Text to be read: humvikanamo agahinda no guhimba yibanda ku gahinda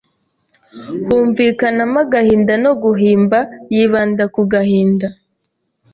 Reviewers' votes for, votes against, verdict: 2, 0, accepted